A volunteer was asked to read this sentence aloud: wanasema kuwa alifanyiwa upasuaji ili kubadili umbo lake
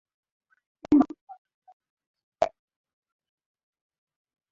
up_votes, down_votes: 0, 2